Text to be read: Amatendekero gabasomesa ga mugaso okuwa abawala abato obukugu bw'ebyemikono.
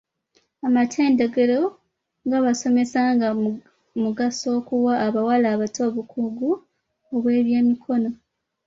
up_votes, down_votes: 0, 2